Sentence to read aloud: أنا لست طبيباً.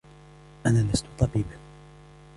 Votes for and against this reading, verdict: 0, 2, rejected